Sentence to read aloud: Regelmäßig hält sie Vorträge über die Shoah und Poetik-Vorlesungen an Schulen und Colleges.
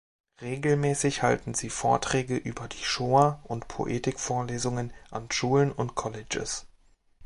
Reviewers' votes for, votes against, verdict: 0, 2, rejected